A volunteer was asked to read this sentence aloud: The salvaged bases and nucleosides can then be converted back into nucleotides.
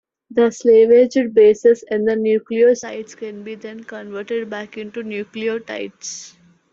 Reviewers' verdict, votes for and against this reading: rejected, 1, 2